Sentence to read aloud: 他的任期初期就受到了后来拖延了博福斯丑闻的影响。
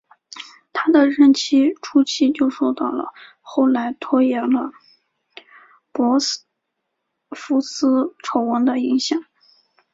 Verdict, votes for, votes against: rejected, 2, 3